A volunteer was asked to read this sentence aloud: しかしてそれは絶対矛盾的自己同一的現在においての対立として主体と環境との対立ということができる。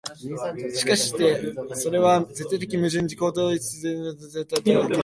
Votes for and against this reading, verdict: 1, 4, rejected